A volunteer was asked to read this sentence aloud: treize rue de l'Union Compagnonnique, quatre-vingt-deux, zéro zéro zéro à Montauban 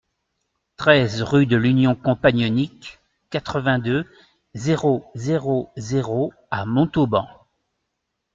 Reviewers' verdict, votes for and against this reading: accepted, 2, 0